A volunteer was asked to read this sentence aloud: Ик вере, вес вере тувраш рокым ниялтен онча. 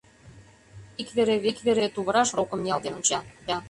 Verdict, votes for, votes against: rejected, 0, 2